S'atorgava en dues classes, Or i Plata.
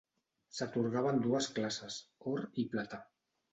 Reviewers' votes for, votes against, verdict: 2, 0, accepted